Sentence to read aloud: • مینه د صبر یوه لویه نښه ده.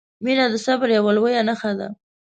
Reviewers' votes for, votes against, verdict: 2, 0, accepted